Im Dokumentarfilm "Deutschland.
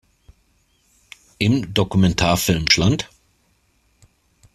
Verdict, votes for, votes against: rejected, 0, 2